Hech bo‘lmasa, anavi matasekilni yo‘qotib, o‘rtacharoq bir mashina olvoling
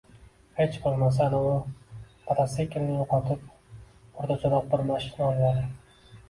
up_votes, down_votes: 2, 1